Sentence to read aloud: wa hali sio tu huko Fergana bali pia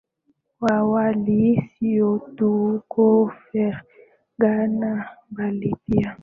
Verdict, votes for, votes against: accepted, 2, 1